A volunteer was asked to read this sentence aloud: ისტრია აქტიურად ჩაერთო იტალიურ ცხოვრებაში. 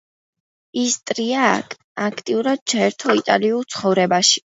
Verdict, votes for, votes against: rejected, 1, 2